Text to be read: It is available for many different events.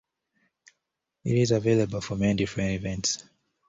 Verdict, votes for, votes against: rejected, 0, 2